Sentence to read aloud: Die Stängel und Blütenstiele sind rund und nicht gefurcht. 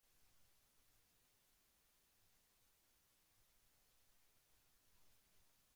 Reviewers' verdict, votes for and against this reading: rejected, 0, 2